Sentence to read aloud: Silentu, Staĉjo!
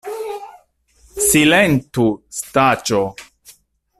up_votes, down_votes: 0, 2